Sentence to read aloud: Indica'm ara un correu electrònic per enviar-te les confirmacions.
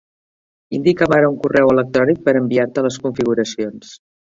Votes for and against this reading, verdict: 1, 2, rejected